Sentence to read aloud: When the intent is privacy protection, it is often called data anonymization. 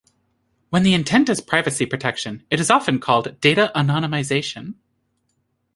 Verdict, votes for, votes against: accepted, 2, 0